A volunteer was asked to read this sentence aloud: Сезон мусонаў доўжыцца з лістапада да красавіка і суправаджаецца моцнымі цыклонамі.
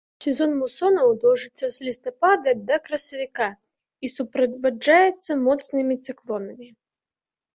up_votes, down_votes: 2, 0